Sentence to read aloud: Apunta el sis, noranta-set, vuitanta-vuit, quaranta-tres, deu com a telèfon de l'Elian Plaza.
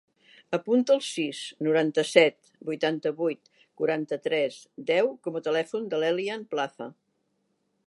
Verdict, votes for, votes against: accepted, 2, 0